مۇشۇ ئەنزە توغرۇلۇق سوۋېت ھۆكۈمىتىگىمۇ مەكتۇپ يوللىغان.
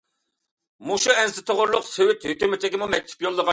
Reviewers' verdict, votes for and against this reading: rejected, 0, 2